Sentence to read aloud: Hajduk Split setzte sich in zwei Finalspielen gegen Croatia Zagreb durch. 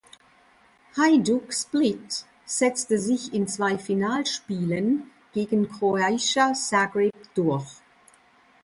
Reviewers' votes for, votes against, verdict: 1, 2, rejected